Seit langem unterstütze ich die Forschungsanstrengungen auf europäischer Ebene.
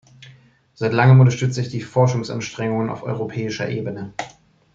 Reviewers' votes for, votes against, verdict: 2, 0, accepted